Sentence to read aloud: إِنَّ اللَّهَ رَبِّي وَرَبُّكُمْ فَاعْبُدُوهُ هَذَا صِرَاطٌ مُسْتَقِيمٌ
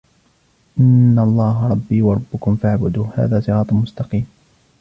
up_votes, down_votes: 1, 2